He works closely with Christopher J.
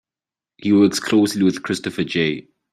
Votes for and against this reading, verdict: 2, 0, accepted